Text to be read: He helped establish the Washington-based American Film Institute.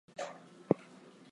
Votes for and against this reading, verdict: 0, 4, rejected